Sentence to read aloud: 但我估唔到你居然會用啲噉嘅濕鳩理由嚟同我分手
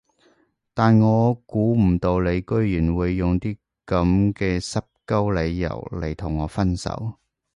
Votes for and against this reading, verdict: 2, 0, accepted